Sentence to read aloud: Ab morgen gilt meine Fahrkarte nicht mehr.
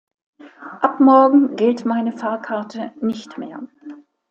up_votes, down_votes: 2, 0